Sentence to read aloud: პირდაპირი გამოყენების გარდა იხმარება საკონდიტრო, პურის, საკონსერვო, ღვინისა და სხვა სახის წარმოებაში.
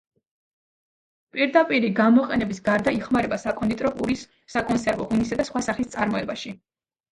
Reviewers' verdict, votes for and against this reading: rejected, 0, 2